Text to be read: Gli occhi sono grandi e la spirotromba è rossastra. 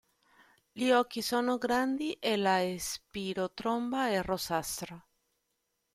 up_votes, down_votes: 1, 2